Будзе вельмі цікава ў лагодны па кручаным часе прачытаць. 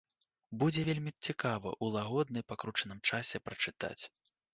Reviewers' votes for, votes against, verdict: 0, 2, rejected